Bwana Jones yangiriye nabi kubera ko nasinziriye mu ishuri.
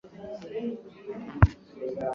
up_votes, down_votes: 1, 2